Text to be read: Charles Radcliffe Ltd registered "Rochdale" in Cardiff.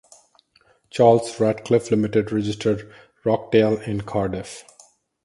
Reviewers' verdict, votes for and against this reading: rejected, 2, 2